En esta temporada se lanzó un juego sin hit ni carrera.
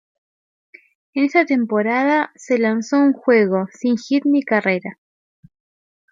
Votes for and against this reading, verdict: 0, 2, rejected